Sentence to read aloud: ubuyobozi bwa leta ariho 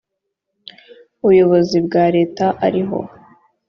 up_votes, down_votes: 2, 0